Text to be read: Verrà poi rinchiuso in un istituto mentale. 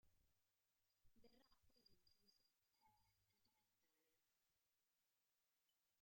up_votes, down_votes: 1, 2